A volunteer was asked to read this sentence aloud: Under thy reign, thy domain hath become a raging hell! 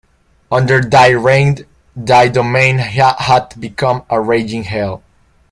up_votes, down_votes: 1, 3